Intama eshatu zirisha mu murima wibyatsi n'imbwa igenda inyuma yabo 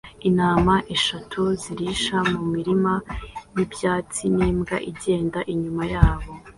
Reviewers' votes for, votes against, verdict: 2, 0, accepted